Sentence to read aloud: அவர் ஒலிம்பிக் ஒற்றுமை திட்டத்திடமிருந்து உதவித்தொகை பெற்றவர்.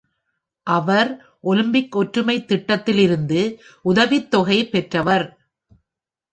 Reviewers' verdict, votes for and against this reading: rejected, 1, 2